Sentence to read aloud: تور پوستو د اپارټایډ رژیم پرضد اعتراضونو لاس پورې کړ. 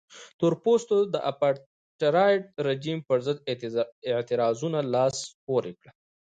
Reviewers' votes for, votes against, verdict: 0, 2, rejected